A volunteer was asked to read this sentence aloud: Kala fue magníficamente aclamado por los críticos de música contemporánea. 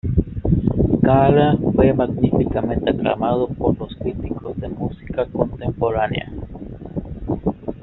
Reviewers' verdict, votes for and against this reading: accepted, 2, 0